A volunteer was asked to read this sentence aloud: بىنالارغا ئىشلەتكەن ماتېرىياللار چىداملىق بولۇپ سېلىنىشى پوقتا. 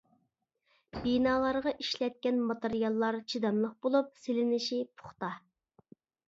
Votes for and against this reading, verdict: 1, 2, rejected